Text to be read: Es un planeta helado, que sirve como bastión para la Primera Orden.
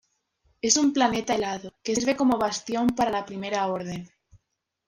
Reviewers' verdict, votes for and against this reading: accepted, 2, 0